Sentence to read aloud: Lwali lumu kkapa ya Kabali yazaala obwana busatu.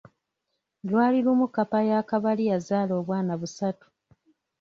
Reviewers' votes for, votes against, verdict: 2, 0, accepted